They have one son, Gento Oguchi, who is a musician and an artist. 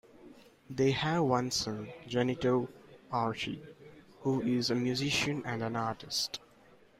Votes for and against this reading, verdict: 1, 2, rejected